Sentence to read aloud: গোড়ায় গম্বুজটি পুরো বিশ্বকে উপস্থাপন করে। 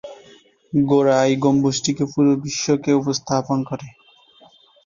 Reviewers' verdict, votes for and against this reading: rejected, 0, 2